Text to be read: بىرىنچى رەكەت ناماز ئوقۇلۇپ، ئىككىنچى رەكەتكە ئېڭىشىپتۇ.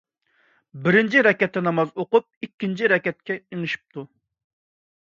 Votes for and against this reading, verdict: 1, 2, rejected